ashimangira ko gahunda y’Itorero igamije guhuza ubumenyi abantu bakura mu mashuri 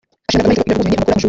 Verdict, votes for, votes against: rejected, 0, 2